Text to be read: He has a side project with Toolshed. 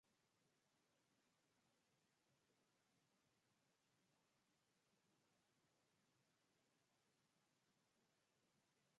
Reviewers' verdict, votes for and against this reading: rejected, 0, 2